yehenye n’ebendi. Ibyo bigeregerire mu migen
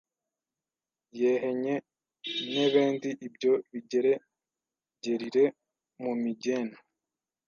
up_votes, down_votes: 1, 2